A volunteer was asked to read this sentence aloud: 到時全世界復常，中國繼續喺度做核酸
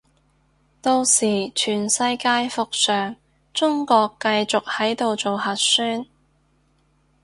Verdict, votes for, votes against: rejected, 0, 2